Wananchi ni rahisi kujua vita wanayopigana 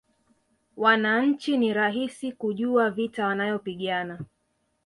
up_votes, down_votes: 2, 0